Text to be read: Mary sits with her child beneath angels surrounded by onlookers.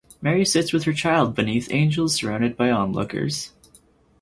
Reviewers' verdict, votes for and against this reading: accepted, 4, 0